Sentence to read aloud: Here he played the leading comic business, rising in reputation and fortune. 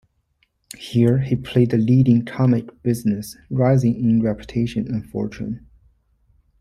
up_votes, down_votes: 2, 0